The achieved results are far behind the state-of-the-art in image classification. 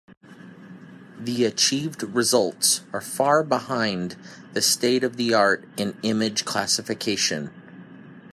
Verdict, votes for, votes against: accepted, 3, 0